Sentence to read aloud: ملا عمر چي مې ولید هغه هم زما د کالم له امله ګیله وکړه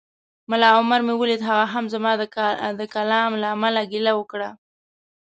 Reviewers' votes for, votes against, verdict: 1, 2, rejected